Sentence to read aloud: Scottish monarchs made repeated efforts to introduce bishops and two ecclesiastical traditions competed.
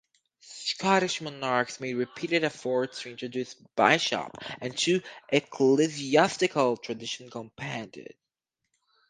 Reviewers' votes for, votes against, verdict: 2, 2, rejected